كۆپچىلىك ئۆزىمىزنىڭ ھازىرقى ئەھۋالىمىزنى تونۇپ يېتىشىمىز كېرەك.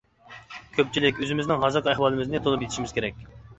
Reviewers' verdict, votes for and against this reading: accepted, 2, 0